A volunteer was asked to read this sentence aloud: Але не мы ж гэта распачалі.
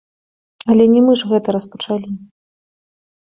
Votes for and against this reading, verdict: 1, 2, rejected